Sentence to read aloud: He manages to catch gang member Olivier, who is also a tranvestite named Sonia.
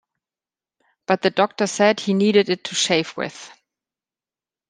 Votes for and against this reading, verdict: 0, 2, rejected